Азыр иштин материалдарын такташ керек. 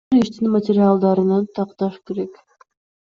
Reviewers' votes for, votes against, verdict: 2, 1, accepted